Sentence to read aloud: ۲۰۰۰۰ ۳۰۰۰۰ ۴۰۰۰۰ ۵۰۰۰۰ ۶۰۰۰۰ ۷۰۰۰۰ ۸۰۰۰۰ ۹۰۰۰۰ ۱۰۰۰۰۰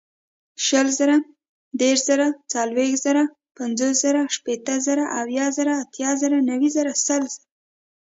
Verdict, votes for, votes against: rejected, 0, 2